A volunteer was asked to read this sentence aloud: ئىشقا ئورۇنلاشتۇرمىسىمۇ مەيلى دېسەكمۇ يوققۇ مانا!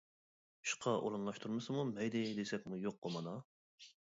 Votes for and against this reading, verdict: 0, 2, rejected